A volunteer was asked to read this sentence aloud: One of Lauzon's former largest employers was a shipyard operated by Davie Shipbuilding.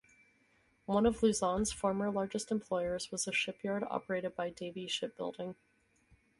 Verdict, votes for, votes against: accepted, 4, 0